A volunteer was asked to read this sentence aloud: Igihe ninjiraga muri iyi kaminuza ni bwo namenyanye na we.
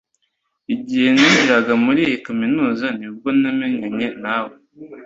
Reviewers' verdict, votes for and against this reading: accepted, 2, 0